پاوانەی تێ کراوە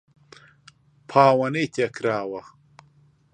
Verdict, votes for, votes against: accepted, 2, 0